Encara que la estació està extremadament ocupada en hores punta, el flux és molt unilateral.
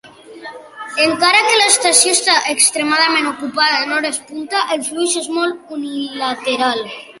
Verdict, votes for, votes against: accepted, 2, 0